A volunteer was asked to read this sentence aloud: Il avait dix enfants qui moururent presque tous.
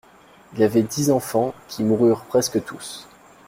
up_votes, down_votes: 2, 0